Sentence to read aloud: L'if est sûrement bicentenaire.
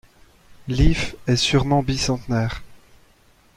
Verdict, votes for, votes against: accepted, 2, 0